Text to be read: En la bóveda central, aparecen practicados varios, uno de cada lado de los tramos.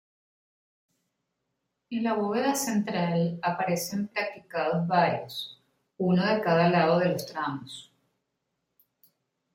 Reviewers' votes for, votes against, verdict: 3, 0, accepted